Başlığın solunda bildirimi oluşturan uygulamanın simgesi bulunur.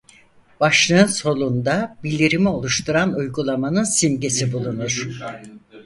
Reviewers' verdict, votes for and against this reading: rejected, 2, 4